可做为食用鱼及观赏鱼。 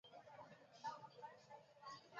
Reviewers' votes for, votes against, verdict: 0, 3, rejected